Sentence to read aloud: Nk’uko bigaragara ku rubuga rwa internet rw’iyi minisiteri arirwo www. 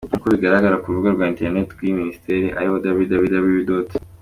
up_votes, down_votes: 2, 0